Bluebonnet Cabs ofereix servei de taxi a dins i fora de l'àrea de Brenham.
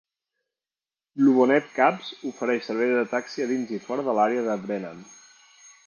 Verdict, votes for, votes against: rejected, 1, 2